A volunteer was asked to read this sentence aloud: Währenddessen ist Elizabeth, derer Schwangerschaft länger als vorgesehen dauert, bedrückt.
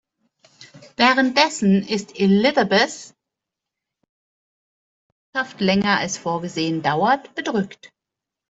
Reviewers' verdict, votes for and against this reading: rejected, 1, 2